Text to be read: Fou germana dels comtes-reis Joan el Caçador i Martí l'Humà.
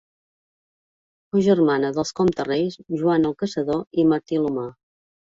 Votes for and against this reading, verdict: 2, 1, accepted